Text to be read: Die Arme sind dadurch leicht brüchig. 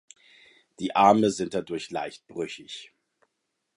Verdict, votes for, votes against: accepted, 2, 0